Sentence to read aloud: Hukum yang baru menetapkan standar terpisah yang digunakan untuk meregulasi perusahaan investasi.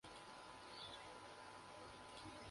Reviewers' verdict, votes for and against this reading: rejected, 0, 2